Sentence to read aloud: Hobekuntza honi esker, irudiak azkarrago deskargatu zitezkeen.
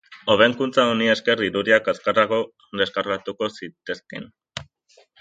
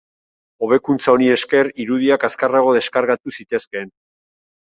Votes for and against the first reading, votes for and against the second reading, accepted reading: 0, 2, 4, 0, second